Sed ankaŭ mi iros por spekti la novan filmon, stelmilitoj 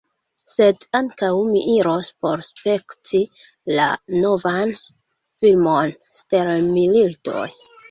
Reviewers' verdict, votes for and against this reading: accepted, 2, 1